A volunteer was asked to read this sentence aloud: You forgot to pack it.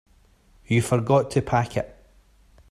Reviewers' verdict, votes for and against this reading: accepted, 3, 1